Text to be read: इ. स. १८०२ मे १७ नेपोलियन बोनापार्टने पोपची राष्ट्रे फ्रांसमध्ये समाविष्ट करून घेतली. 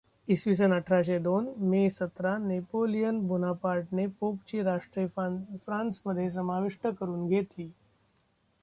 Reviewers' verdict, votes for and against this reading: rejected, 0, 2